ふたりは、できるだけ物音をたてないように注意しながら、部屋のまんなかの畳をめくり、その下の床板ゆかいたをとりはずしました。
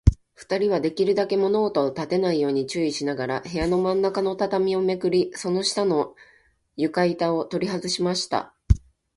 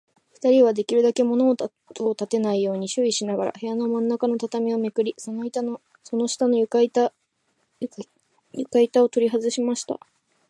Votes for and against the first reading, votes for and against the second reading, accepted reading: 2, 0, 1, 2, first